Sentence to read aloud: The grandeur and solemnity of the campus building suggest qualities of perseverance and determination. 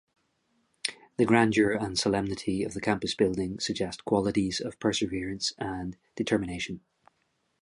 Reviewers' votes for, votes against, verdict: 2, 0, accepted